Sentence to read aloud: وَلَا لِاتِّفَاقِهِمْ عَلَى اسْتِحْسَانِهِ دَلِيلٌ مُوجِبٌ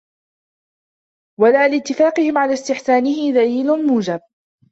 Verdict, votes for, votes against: rejected, 1, 2